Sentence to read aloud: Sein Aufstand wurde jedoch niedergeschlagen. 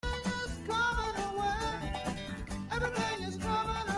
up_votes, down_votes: 0, 2